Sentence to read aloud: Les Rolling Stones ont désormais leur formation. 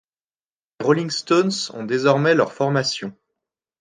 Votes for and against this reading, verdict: 1, 2, rejected